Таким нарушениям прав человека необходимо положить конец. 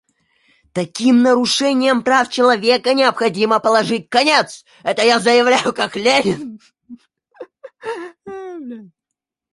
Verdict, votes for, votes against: rejected, 0, 2